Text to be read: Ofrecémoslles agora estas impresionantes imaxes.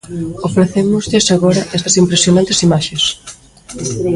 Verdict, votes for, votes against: rejected, 1, 2